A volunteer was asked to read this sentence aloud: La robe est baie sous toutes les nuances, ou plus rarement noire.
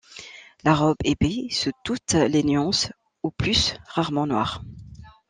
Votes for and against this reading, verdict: 1, 2, rejected